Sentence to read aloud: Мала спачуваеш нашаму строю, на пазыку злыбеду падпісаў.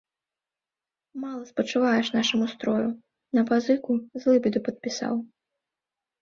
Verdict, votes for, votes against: accepted, 2, 0